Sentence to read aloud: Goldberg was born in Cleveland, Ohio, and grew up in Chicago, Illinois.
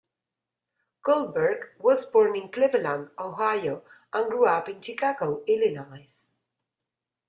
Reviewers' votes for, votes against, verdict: 2, 0, accepted